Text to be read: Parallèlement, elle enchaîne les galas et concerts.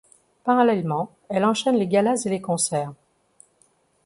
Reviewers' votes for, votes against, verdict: 1, 2, rejected